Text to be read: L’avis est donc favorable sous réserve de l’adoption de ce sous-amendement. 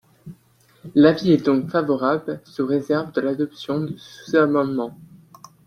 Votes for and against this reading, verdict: 0, 2, rejected